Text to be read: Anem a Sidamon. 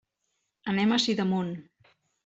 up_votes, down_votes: 2, 0